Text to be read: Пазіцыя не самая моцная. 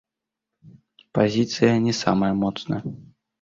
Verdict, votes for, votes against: rejected, 1, 2